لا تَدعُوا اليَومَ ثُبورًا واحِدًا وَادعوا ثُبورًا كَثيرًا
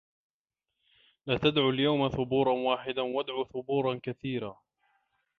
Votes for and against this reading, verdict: 2, 0, accepted